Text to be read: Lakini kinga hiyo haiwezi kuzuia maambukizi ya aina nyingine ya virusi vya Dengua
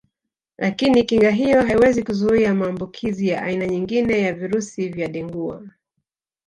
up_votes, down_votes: 1, 2